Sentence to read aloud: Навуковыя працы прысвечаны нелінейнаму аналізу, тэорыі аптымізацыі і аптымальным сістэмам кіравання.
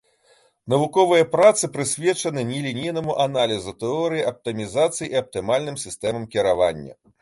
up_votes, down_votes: 2, 0